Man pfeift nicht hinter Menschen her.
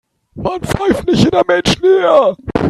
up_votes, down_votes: 1, 2